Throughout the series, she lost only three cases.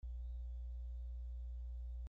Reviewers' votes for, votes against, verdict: 0, 2, rejected